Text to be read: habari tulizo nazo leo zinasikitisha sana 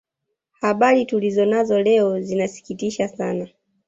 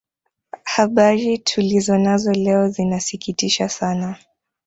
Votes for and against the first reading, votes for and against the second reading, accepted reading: 1, 2, 2, 0, second